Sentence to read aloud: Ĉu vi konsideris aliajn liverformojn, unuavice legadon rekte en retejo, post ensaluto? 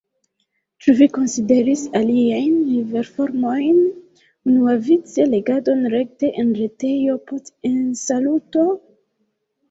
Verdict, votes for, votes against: rejected, 1, 2